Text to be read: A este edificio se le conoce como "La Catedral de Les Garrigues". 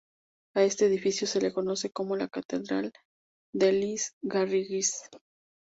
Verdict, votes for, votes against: accepted, 2, 0